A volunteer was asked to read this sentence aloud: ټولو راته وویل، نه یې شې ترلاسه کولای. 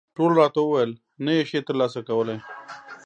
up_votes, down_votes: 2, 0